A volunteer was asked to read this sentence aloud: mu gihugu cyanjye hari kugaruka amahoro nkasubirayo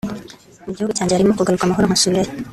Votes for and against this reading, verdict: 0, 2, rejected